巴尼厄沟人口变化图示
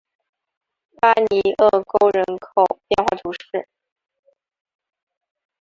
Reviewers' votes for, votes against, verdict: 9, 0, accepted